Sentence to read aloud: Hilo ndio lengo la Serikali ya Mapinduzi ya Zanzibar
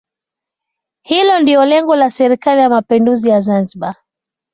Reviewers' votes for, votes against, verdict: 2, 0, accepted